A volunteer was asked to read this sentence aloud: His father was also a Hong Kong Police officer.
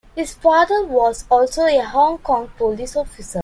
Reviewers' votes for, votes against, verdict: 2, 0, accepted